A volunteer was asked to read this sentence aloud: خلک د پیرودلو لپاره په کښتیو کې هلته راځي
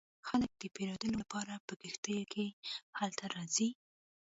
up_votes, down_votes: 0, 2